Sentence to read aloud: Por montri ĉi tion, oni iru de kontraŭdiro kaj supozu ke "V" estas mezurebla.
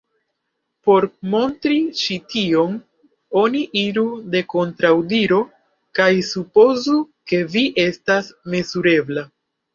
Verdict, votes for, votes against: rejected, 0, 2